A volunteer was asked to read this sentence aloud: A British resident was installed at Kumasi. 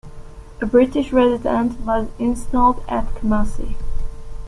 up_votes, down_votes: 2, 0